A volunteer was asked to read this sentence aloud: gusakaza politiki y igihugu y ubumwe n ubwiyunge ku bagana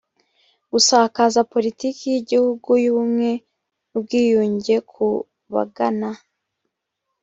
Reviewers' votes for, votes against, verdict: 3, 0, accepted